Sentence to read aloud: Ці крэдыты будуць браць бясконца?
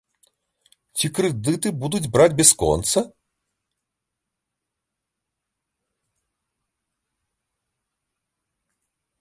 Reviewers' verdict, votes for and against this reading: accepted, 2, 1